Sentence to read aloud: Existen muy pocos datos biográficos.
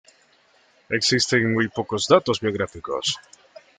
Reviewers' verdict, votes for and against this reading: rejected, 1, 2